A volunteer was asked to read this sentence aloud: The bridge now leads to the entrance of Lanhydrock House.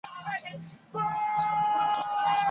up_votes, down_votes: 0, 2